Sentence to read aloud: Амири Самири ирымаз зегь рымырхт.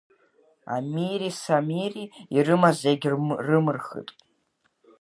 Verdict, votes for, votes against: rejected, 1, 2